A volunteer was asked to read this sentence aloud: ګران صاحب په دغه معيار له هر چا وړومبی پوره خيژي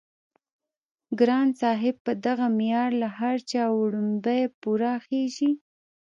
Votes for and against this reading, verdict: 1, 2, rejected